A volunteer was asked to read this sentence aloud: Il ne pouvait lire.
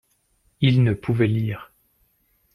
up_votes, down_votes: 2, 0